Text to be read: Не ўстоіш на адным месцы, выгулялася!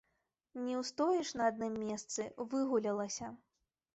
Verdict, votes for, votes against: rejected, 1, 2